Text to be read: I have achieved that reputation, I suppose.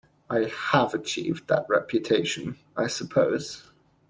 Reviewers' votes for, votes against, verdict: 2, 0, accepted